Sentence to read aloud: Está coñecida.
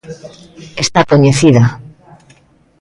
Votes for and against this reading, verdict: 2, 0, accepted